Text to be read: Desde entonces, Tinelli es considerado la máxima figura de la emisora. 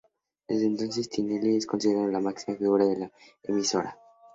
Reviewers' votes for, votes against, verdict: 0, 2, rejected